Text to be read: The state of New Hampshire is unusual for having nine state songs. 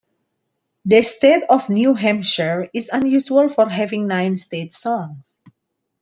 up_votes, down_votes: 2, 0